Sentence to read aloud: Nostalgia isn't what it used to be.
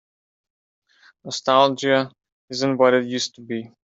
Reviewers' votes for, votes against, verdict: 3, 0, accepted